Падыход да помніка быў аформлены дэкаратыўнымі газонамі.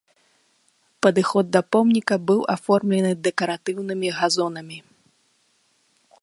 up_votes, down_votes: 2, 0